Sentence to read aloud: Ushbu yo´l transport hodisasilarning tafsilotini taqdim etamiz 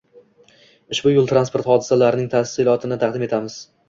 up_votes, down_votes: 2, 0